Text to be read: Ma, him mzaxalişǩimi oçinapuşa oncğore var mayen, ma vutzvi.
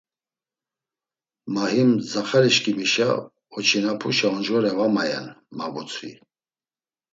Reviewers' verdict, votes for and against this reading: rejected, 1, 2